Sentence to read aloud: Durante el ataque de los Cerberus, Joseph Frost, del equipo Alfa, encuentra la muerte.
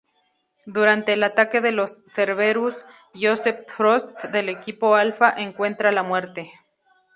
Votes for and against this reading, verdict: 2, 0, accepted